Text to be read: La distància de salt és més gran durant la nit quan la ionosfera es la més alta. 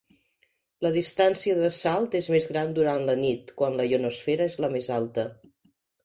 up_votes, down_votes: 2, 1